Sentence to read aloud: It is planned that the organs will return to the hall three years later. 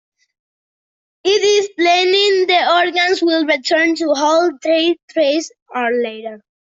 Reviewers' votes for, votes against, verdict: 0, 2, rejected